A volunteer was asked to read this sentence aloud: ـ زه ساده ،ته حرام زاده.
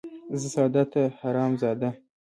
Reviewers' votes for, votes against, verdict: 2, 1, accepted